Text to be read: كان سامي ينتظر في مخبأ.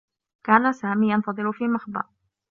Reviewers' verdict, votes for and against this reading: accepted, 3, 1